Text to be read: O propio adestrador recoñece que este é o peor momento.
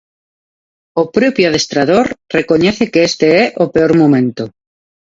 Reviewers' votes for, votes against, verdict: 0, 2, rejected